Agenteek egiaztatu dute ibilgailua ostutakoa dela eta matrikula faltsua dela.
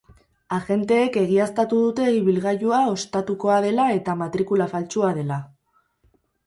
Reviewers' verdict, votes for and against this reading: rejected, 2, 2